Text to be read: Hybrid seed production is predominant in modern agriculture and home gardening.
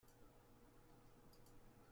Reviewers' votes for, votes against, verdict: 0, 2, rejected